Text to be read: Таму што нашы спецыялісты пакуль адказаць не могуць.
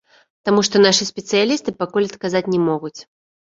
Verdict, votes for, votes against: rejected, 1, 2